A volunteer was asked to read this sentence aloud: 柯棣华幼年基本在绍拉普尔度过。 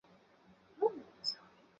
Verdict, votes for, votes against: rejected, 0, 2